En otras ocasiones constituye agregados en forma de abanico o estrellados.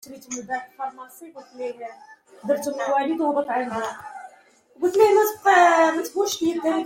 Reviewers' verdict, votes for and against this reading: rejected, 0, 2